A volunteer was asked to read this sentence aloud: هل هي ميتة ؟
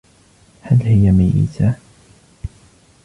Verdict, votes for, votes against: rejected, 1, 2